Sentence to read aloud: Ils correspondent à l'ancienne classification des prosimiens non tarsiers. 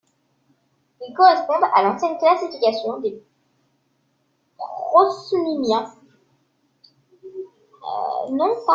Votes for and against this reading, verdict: 0, 2, rejected